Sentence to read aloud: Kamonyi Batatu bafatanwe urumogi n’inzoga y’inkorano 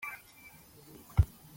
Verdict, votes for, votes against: rejected, 0, 3